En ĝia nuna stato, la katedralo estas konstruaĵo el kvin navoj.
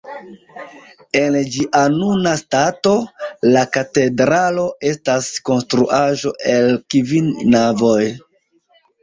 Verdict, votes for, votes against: accepted, 2, 1